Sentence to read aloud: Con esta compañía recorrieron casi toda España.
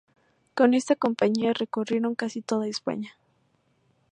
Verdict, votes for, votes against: accepted, 4, 0